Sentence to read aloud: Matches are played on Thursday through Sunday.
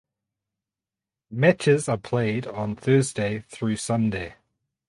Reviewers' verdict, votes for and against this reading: accepted, 4, 0